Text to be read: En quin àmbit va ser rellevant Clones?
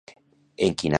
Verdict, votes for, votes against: rejected, 0, 2